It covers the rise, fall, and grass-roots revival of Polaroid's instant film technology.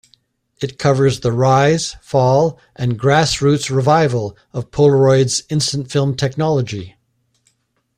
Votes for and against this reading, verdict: 2, 0, accepted